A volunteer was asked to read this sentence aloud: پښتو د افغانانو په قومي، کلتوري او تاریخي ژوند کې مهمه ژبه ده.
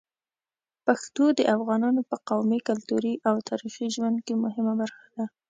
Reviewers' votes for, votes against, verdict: 1, 2, rejected